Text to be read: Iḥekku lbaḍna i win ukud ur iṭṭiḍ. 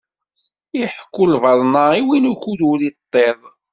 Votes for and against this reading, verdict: 2, 0, accepted